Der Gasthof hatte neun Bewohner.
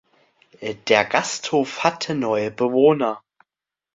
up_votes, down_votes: 0, 2